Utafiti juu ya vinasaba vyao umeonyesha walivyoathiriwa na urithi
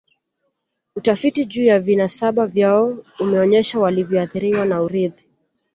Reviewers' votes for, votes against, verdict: 2, 1, accepted